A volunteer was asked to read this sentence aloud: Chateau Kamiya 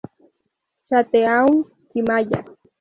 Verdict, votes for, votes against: rejected, 0, 2